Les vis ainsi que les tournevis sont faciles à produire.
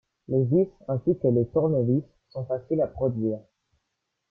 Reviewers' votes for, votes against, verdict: 0, 2, rejected